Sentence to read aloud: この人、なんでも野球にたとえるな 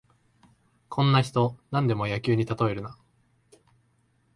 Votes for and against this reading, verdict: 0, 2, rejected